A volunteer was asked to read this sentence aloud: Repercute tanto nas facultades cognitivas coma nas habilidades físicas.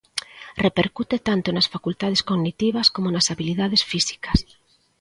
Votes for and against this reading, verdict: 2, 0, accepted